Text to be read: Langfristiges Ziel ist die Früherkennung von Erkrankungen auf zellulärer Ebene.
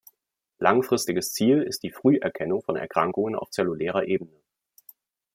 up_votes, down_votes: 1, 2